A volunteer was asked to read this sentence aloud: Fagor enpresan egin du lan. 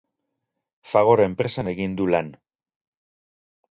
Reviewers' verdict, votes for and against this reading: accepted, 6, 0